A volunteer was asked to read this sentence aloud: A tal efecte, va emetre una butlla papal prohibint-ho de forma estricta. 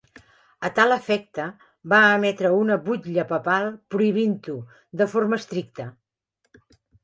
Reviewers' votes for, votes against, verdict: 4, 1, accepted